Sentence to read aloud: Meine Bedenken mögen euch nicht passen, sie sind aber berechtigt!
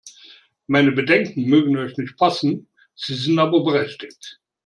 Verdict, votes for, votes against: accepted, 3, 0